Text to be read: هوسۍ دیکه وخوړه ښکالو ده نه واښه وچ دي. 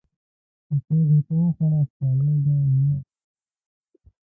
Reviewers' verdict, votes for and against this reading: rejected, 2, 3